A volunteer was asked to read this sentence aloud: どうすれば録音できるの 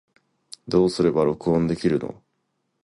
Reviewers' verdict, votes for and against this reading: accepted, 2, 0